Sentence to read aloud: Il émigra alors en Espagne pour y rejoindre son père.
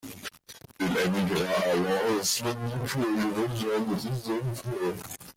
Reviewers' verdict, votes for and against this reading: rejected, 0, 2